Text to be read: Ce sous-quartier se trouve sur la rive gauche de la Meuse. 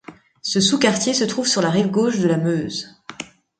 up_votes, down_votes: 2, 0